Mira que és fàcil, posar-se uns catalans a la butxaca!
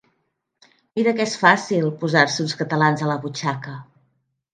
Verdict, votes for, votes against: accepted, 3, 0